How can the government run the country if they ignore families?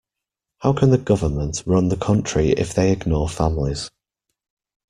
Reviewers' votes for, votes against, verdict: 2, 1, accepted